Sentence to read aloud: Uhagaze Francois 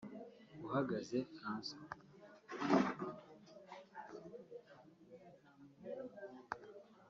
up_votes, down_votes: 1, 2